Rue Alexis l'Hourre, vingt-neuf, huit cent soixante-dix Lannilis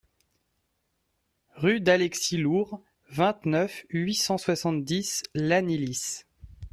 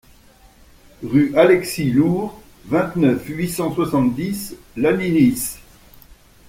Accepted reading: second